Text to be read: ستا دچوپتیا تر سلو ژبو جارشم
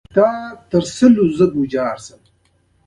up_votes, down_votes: 2, 0